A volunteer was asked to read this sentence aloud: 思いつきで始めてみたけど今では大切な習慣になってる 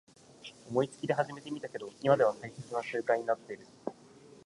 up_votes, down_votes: 0, 2